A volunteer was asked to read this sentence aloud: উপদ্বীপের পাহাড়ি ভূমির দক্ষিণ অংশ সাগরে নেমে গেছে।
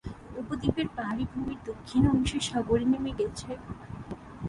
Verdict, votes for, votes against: rejected, 3, 3